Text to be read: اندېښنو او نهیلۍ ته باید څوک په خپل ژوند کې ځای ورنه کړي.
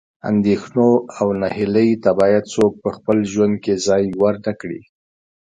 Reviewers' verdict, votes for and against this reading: rejected, 1, 2